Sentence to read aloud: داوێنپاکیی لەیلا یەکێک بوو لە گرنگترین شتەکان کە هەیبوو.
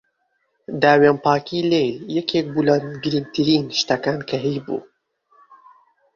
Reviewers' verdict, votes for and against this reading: rejected, 0, 2